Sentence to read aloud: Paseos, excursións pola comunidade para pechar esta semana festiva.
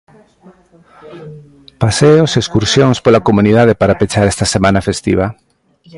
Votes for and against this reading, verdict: 1, 2, rejected